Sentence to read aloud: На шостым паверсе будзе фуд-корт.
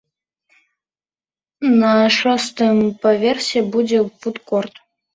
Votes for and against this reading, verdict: 2, 0, accepted